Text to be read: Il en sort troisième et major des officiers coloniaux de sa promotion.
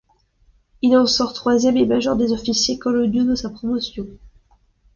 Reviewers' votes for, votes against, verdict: 2, 0, accepted